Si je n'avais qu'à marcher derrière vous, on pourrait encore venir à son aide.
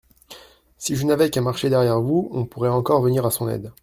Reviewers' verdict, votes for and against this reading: accepted, 2, 0